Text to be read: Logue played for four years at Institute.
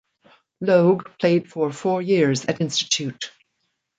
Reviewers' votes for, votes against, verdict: 2, 0, accepted